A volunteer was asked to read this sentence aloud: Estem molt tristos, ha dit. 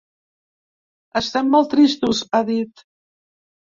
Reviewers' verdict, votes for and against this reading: accepted, 2, 0